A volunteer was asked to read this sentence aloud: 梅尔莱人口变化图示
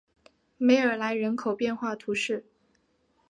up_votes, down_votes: 2, 0